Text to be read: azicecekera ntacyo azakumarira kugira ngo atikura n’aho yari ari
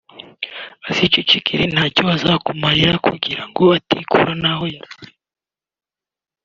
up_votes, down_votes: 1, 2